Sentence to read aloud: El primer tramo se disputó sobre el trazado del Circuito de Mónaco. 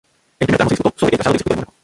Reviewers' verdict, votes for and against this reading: rejected, 0, 2